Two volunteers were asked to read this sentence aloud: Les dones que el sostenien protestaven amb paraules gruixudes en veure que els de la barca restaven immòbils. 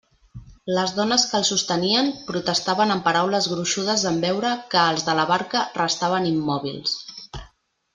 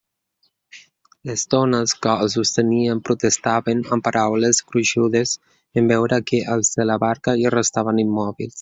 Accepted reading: first